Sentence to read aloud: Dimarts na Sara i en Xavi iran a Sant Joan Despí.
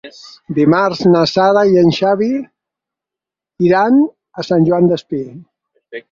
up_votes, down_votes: 6, 0